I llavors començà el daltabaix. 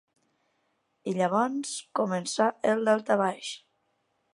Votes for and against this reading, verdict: 0, 2, rejected